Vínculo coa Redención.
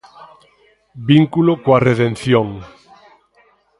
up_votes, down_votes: 2, 1